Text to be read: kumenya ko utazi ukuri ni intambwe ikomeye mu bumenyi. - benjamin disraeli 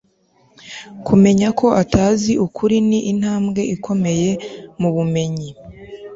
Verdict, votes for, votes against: rejected, 1, 2